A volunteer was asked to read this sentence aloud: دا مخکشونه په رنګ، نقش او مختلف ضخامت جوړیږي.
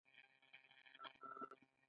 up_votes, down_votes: 0, 2